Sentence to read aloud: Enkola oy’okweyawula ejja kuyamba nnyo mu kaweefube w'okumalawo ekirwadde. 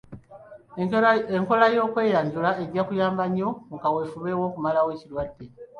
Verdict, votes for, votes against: rejected, 1, 2